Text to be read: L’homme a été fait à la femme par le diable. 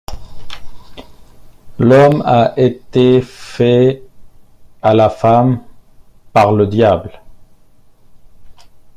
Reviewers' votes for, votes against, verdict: 0, 2, rejected